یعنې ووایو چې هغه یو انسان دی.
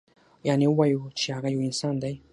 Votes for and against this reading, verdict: 6, 0, accepted